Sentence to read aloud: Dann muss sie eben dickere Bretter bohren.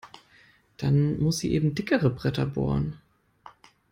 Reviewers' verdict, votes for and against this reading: accepted, 2, 0